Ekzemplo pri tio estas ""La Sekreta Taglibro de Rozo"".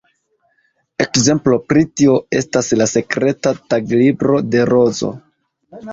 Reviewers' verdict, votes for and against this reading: accepted, 2, 1